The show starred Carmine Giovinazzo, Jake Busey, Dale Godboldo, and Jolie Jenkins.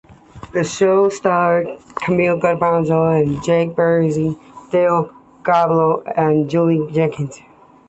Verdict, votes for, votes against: accepted, 2, 0